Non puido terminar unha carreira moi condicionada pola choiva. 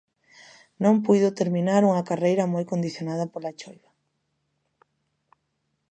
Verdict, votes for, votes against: accepted, 2, 0